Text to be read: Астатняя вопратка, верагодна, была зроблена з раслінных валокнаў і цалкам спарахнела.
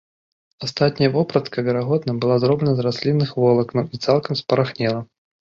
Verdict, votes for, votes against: rejected, 0, 2